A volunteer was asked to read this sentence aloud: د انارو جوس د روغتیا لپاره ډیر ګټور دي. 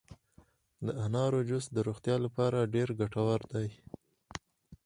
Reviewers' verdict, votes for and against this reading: accepted, 4, 0